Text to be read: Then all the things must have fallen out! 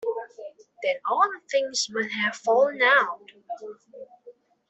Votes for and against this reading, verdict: 0, 2, rejected